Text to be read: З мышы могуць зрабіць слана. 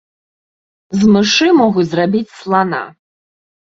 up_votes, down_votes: 1, 2